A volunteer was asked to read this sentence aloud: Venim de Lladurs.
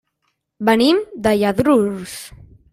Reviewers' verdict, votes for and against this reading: rejected, 0, 2